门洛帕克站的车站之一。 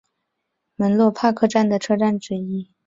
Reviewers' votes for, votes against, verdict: 2, 0, accepted